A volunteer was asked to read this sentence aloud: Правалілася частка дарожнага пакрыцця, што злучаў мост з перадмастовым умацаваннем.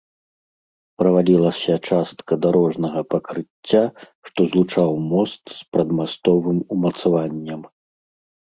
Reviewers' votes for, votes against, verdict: 1, 2, rejected